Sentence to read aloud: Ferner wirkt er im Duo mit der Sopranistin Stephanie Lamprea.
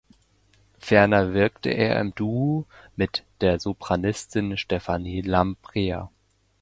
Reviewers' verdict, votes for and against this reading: rejected, 0, 2